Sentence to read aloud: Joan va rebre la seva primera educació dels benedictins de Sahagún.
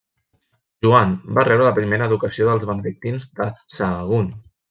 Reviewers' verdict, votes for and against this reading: rejected, 0, 2